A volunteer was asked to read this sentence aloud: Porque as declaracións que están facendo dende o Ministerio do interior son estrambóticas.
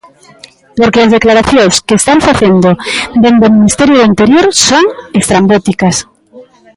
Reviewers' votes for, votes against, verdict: 1, 2, rejected